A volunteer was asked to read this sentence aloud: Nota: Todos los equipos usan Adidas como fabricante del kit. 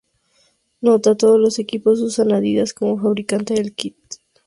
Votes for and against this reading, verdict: 2, 0, accepted